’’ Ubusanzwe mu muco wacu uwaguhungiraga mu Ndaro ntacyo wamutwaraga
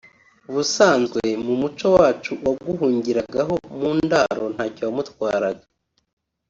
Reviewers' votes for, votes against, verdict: 2, 0, accepted